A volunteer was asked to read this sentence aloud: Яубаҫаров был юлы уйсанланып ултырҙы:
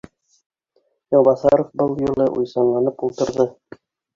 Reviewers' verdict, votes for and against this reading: rejected, 0, 2